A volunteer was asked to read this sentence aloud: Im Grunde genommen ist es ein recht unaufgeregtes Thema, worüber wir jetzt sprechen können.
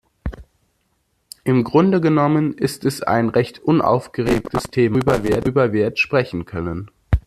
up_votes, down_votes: 0, 2